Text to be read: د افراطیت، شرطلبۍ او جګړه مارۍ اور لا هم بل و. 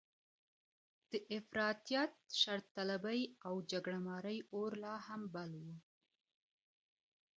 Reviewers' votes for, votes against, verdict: 2, 0, accepted